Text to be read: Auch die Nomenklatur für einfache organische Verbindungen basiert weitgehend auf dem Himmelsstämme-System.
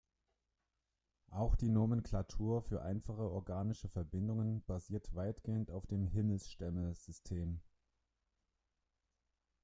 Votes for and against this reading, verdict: 0, 2, rejected